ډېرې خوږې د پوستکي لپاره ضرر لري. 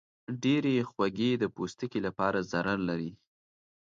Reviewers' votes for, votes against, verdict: 3, 0, accepted